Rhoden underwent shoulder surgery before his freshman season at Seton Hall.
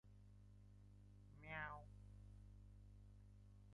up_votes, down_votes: 0, 2